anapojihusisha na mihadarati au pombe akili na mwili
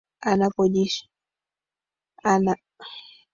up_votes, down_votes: 1, 2